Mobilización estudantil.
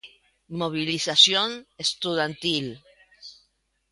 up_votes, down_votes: 1, 2